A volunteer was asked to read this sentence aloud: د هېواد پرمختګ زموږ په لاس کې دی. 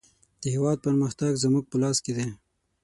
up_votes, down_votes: 6, 0